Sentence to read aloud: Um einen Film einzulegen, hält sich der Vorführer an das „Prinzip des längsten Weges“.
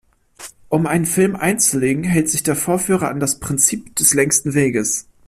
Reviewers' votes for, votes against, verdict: 2, 0, accepted